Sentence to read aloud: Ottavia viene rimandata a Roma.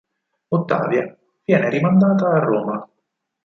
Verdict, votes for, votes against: accepted, 4, 0